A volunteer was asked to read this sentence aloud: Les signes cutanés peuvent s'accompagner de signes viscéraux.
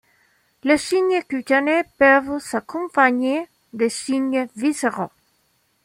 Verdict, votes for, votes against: accepted, 2, 0